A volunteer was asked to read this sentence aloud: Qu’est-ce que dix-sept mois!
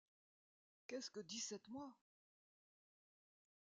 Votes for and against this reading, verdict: 0, 2, rejected